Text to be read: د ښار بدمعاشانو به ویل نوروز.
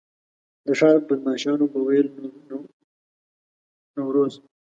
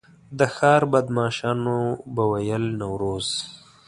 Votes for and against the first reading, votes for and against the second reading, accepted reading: 1, 2, 2, 0, second